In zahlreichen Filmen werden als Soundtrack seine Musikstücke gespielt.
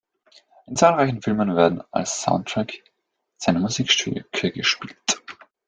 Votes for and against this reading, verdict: 1, 2, rejected